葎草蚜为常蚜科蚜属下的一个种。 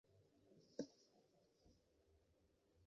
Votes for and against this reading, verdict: 0, 7, rejected